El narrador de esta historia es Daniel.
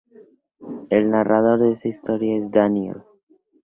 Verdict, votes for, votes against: accepted, 2, 0